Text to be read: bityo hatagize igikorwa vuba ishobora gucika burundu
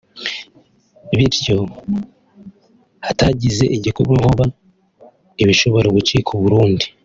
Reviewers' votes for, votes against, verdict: 0, 2, rejected